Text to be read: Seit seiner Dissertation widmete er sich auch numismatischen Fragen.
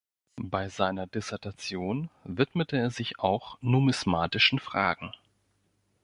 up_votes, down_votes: 0, 2